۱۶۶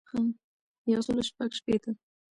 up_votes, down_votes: 0, 2